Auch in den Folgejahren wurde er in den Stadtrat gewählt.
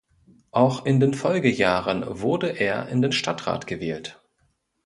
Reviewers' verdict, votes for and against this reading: accepted, 3, 0